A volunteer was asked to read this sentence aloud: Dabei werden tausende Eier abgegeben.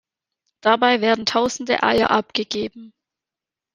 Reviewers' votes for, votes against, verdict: 2, 0, accepted